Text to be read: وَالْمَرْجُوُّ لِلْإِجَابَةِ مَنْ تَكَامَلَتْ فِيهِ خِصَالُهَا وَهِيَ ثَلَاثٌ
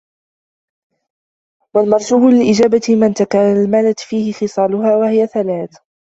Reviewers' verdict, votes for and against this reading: rejected, 1, 2